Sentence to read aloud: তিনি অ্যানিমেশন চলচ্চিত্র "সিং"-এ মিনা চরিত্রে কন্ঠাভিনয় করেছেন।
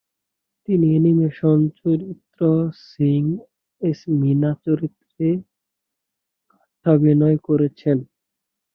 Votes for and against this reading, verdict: 1, 5, rejected